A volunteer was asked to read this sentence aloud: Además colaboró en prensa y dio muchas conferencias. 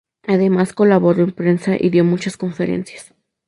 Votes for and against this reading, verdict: 2, 0, accepted